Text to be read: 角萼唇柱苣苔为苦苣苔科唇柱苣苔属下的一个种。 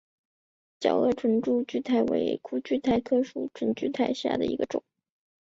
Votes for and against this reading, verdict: 6, 0, accepted